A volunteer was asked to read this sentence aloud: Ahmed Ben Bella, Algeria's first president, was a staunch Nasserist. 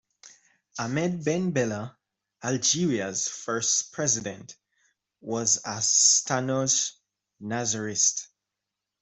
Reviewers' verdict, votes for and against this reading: rejected, 1, 2